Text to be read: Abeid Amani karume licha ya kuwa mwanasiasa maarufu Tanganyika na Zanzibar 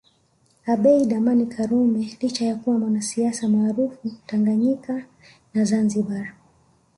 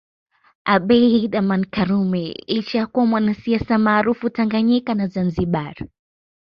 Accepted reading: second